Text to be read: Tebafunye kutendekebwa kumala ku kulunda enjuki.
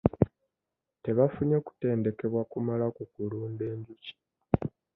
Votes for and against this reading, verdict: 1, 2, rejected